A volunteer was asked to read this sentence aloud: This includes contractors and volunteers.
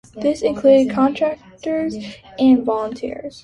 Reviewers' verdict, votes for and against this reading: accepted, 2, 0